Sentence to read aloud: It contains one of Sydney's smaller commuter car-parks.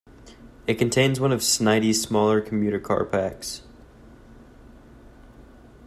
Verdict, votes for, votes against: rejected, 0, 2